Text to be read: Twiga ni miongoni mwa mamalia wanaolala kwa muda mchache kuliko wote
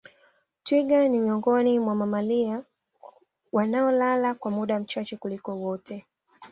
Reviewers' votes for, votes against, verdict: 2, 0, accepted